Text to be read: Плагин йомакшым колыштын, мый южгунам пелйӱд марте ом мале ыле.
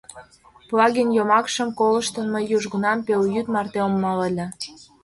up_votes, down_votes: 2, 0